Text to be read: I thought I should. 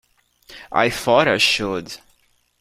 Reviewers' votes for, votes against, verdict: 2, 0, accepted